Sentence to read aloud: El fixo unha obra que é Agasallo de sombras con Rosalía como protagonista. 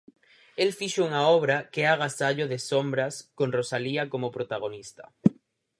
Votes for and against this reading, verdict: 4, 0, accepted